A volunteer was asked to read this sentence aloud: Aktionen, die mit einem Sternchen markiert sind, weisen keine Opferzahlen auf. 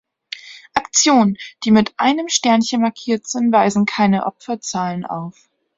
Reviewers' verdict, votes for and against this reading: accepted, 2, 1